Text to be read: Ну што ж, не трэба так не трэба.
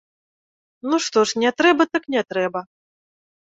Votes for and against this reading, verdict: 2, 0, accepted